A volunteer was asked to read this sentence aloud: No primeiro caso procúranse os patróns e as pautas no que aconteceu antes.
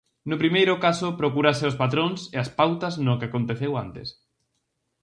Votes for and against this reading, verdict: 2, 2, rejected